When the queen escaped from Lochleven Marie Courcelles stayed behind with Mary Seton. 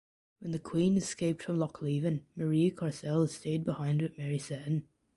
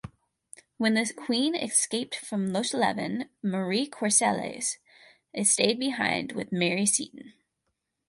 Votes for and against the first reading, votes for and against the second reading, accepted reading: 2, 0, 0, 4, first